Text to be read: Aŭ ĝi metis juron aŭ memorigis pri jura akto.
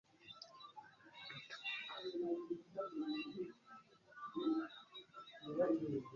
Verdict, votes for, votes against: rejected, 1, 2